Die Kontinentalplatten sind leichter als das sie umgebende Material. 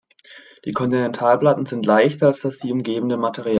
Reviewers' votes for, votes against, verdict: 0, 2, rejected